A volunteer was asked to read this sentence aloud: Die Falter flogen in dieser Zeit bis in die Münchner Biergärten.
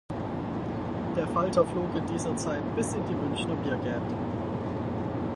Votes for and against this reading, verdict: 0, 4, rejected